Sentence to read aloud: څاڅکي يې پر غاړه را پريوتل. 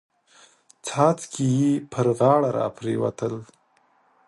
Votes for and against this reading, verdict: 4, 0, accepted